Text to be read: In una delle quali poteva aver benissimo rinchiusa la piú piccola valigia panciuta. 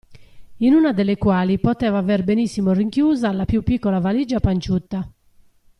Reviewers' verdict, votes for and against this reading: rejected, 1, 2